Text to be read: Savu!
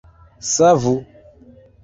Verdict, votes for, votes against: accepted, 2, 1